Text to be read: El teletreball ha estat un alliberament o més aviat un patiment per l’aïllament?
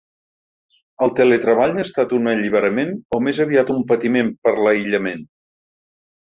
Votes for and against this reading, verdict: 4, 0, accepted